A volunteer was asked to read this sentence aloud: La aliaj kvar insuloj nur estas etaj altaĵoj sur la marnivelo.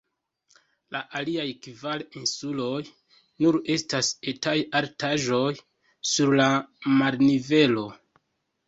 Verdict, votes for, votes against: accepted, 2, 0